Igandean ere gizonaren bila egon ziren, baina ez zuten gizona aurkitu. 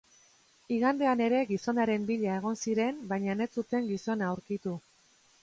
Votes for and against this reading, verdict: 0, 2, rejected